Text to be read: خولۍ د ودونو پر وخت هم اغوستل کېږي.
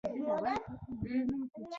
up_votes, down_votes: 0, 2